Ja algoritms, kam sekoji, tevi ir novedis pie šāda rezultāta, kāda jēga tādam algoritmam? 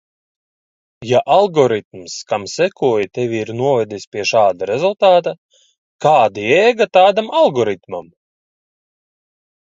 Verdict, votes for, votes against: accepted, 2, 0